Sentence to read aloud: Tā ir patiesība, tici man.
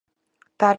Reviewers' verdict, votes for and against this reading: rejected, 0, 2